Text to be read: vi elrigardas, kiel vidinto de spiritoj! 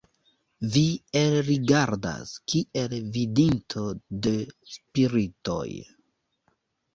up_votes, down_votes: 0, 3